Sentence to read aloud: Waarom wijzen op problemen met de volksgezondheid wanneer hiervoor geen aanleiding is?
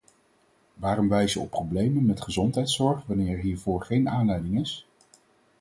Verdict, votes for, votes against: rejected, 2, 4